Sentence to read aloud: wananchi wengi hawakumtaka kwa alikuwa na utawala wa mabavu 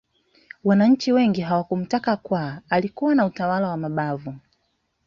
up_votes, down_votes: 2, 0